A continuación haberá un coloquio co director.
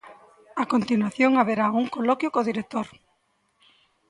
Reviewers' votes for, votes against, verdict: 1, 3, rejected